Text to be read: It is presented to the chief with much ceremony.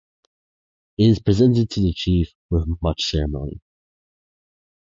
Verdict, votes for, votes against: rejected, 2, 2